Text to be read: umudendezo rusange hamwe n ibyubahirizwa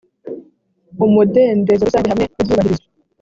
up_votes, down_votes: 2, 1